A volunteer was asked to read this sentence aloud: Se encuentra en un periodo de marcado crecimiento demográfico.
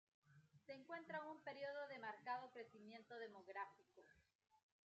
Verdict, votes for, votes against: rejected, 0, 2